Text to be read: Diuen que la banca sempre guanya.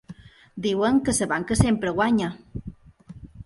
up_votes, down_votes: 2, 5